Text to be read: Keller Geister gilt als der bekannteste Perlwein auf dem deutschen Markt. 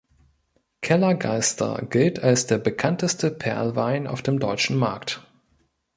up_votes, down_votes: 2, 0